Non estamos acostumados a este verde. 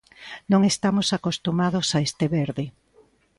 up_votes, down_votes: 2, 0